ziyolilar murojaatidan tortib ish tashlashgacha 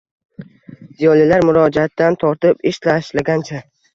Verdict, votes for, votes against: rejected, 1, 2